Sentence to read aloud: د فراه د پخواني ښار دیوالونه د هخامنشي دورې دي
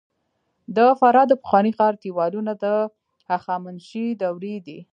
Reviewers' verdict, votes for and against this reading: rejected, 1, 2